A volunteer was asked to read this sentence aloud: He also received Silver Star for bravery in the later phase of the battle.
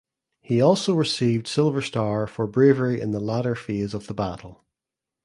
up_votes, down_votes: 1, 2